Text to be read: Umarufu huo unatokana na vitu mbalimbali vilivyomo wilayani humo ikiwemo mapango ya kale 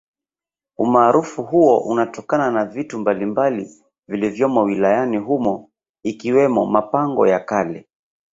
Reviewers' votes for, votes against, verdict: 3, 0, accepted